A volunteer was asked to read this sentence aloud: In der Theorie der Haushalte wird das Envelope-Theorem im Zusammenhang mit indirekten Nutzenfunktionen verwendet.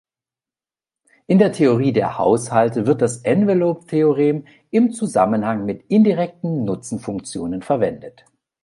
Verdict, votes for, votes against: accepted, 2, 0